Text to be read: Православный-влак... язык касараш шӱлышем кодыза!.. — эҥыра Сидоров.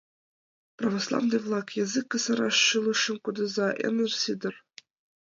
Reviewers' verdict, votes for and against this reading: rejected, 1, 2